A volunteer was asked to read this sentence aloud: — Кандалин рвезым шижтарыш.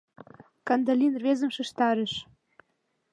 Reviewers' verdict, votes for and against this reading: accepted, 2, 0